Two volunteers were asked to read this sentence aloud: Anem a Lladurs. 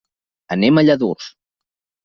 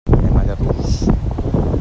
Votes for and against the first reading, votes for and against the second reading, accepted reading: 2, 0, 1, 2, first